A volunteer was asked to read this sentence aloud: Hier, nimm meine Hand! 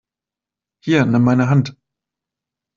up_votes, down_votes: 2, 0